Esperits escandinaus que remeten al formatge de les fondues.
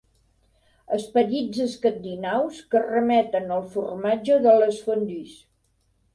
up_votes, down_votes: 2, 0